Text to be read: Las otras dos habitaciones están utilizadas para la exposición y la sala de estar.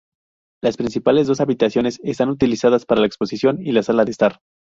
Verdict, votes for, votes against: rejected, 0, 2